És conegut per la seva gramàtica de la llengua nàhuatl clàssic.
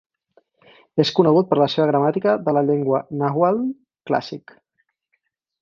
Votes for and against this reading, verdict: 4, 0, accepted